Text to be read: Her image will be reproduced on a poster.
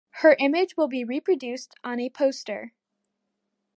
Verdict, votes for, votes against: accepted, 2, 0